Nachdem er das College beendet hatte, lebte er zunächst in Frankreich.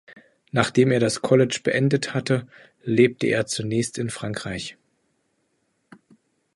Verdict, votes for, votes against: accepted, 2, 0